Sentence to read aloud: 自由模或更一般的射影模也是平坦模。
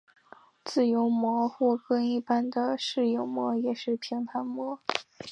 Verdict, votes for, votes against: accepted, 3, 1